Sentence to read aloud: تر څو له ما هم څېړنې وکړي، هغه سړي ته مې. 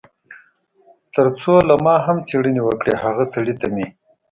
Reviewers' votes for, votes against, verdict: 2, 0, accepted